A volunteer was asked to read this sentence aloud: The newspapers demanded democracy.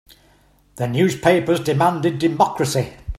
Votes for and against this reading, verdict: 3, 0, accepted